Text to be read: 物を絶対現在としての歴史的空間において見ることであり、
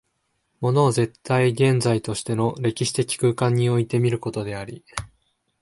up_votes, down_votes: 5, 0